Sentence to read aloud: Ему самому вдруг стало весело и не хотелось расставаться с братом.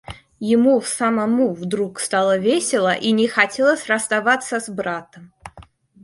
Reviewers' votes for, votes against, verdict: 2, 0, accepted